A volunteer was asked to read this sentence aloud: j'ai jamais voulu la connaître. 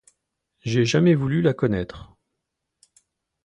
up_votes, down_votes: 2, 0